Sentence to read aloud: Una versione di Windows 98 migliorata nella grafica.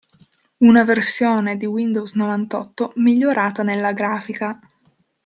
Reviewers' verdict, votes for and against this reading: rejected, 0, 2